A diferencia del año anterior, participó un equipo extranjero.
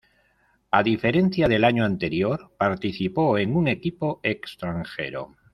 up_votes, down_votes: 1, 2